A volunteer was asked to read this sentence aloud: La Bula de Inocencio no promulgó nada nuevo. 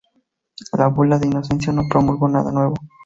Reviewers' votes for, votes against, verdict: 2, 2, rejected